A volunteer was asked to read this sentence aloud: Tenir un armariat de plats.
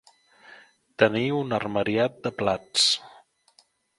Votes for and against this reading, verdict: 3, 0, accepted